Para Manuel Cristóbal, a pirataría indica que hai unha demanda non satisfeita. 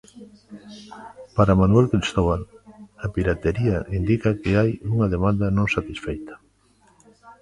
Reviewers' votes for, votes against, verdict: 0, 2, rejected